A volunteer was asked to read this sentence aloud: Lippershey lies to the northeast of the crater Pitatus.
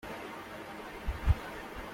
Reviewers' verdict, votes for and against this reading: rejected, 0, 2